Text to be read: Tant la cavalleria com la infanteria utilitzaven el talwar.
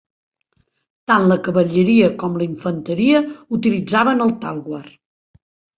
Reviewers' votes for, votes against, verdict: 4, 0, accepted